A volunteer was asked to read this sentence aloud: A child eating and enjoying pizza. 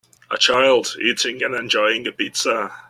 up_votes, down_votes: 1, 2